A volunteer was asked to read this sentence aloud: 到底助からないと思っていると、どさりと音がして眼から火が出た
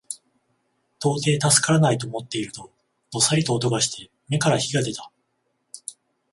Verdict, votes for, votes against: accepted, 14, 0